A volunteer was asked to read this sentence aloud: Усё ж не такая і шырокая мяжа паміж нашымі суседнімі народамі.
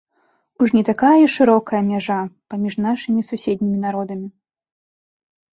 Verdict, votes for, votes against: rejected, 1, 2